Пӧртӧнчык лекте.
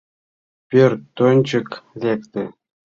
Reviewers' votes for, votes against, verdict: 2, 0, accepted